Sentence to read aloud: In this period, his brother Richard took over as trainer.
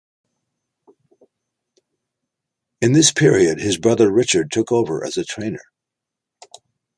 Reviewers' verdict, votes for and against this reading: rejected, 0, 2